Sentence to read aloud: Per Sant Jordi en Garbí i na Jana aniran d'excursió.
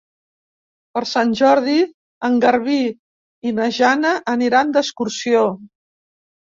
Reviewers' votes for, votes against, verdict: 3, 0, accepted